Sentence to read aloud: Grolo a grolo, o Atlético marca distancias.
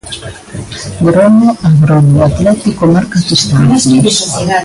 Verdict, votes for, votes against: rejected, 0, 3